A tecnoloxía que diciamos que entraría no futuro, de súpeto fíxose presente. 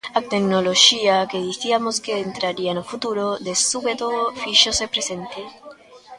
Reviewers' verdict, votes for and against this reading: rejected, 0, 2